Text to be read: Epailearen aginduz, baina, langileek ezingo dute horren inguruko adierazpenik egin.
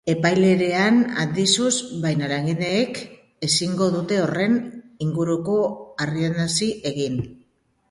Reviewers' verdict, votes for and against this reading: rejected, 1, 2